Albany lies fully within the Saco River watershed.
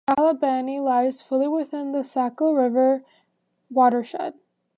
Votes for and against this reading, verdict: 2, 0, accepted